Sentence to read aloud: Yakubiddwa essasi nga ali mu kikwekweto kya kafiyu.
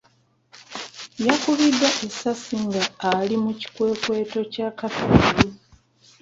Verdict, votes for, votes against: rejected, 0, 2